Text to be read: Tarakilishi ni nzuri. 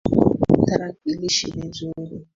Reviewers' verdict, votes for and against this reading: rejected, 2, 3